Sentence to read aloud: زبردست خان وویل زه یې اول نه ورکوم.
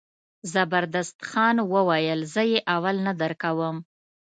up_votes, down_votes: 1, 2